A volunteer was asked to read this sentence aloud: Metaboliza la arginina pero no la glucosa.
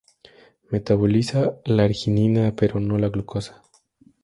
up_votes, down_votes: 2, 0